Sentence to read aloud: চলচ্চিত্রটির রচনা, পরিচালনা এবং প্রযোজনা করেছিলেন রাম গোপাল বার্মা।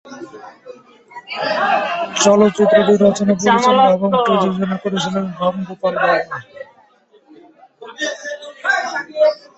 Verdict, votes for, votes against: rejected, 3, 8